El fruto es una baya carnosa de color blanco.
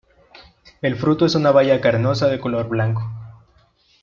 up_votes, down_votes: 2, 0